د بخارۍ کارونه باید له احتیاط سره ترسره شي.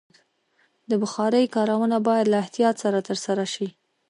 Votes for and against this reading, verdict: 1, 2, rejected